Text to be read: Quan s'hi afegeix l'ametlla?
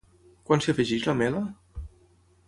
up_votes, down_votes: 0, 3